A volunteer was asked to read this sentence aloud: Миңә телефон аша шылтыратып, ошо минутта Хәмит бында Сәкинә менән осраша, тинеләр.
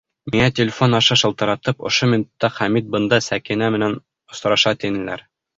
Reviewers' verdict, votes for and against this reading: accepted, 2, 0